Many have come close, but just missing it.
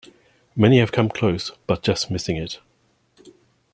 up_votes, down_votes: 2, 0